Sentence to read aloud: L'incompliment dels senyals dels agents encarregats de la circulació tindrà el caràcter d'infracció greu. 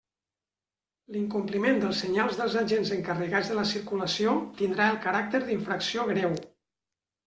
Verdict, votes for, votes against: accepted, 3, 0